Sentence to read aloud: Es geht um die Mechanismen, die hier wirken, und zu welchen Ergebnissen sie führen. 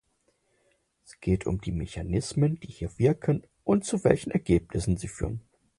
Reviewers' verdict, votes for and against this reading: accepted, 4, 0